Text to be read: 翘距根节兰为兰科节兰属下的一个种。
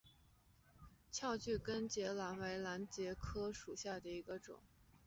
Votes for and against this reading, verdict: 2, 2, rejected